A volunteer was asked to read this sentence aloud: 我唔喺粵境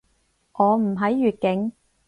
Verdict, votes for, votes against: accepted, 4, 0